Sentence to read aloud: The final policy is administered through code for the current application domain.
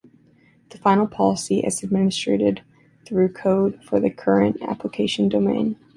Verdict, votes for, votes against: accepted, 2, 0